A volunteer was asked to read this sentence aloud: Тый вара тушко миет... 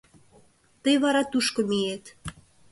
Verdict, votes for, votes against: accepted, 2, 0